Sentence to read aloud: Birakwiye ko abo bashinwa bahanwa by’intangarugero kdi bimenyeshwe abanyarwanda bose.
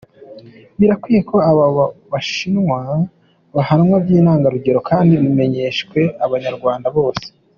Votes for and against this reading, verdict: 2, 1, accepted